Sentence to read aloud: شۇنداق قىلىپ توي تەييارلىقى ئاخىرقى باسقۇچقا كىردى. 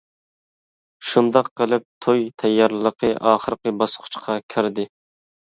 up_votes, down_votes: 2, 0